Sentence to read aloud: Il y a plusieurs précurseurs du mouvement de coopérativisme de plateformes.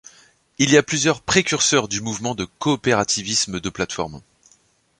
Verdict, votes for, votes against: accepted, 2, 0